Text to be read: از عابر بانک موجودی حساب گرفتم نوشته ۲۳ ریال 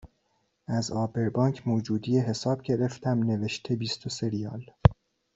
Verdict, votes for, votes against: rejected, 0, 2